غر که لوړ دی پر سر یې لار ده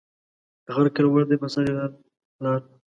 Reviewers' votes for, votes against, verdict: 2, 0, accepted